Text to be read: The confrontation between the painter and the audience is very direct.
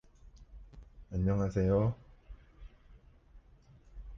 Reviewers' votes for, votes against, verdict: 0, 2, rejected